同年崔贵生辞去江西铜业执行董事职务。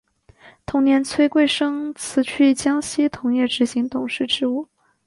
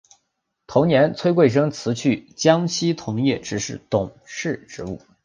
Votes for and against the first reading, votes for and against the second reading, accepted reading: 2, 0, 2, 3, first